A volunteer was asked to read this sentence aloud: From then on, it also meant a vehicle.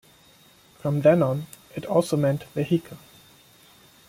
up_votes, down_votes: 1, 2